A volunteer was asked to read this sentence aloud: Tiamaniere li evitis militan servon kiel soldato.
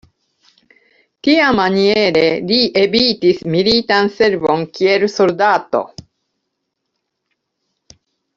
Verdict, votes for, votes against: rejected, 1, 2